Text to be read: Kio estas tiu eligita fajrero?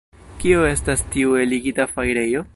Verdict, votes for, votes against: rejected, 1, 2